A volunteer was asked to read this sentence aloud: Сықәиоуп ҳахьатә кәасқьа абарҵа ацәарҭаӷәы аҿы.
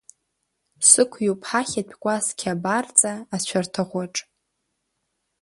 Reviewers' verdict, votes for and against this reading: accepted, 3, 1